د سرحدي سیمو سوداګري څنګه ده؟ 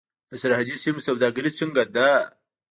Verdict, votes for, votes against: accepted, 2, 1